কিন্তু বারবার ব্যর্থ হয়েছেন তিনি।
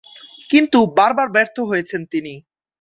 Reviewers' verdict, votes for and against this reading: accepted, 2, 0